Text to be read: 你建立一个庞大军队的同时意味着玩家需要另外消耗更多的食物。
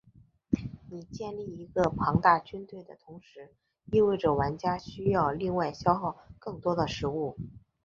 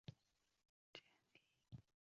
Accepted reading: first